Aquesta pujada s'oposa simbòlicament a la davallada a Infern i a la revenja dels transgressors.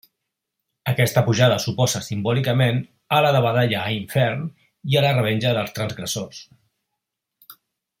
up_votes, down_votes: 0, 3